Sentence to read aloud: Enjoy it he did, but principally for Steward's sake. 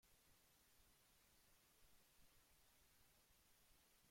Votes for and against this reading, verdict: 0, 2, rejected